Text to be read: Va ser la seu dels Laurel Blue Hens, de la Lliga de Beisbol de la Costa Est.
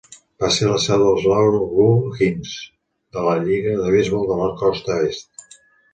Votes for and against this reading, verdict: 1, 2, rejected